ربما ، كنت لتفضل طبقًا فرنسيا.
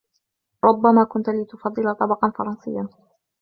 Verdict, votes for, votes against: accepted, 2, 0